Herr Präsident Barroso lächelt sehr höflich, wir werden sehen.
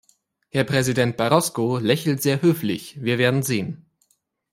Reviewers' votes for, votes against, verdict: 1, 2, rejected